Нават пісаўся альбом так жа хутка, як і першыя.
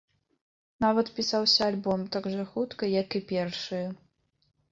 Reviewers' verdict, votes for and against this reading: accepted, 2, 0